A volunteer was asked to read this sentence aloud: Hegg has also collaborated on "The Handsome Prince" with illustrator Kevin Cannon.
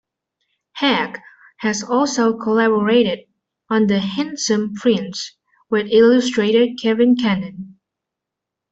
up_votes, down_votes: 2, 1